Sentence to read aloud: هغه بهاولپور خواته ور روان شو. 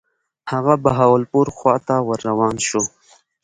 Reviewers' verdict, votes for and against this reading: rejected, 1, 2